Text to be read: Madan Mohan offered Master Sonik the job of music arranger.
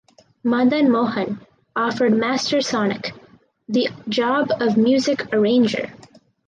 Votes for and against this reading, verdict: 4, 0, accepted